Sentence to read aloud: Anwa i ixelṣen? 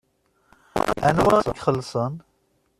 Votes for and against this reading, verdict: 1, 2, rejected